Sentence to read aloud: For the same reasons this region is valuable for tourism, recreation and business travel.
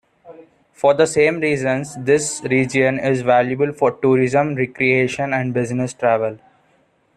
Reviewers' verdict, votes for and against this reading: accepted, 2, 0